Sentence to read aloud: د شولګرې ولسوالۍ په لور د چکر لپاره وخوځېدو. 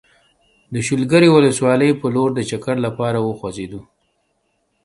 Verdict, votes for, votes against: accepted, 2, 1